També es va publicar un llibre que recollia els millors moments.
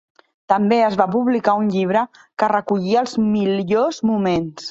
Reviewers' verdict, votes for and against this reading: rejected, 1, 2